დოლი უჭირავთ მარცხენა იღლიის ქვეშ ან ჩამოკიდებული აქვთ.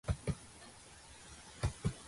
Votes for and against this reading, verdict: 0, 2, rejected